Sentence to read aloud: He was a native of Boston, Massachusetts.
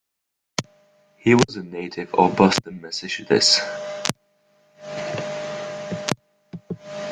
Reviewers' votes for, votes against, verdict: 0, 2, rejected